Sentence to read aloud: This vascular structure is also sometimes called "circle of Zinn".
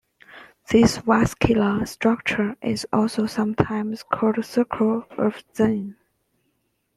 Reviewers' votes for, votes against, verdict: 2, 0, accepted